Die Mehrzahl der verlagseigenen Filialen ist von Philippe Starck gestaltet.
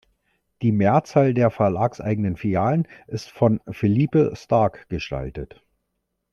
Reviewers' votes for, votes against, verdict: 2, 0, accepted